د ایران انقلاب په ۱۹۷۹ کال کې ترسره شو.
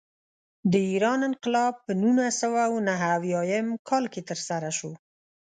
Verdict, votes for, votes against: rejected, 0, 2